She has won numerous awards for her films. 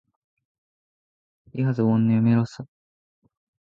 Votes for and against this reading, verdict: 0, 2, rejected